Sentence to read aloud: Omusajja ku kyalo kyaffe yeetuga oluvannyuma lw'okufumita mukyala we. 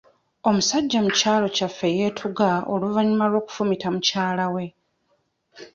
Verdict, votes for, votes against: accepted, 2, 0